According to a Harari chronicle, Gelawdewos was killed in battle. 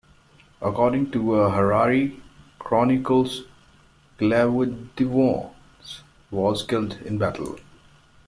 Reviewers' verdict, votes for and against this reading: rejected, 0, 2